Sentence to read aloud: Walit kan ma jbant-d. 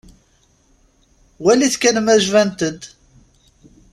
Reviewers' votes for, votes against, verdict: 2, 0, accepted